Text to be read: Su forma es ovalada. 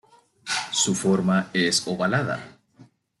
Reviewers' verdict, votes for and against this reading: accepted, 2, 0